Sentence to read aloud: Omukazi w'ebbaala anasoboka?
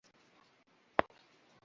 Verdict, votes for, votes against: rejected, 0, 2